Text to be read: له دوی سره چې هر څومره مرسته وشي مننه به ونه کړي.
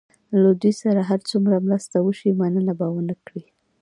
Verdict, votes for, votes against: rejected, 0, 2